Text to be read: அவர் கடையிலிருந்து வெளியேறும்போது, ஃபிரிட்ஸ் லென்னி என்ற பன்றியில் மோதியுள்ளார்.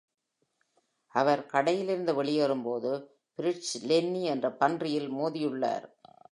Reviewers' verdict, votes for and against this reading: accepted, 2, 1